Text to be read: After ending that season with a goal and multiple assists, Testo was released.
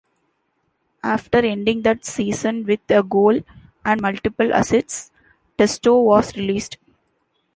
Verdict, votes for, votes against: rejected, 1, 2